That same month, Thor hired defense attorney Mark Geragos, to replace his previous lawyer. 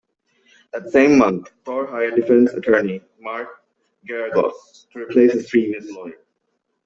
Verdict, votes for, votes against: accepted, 2, 0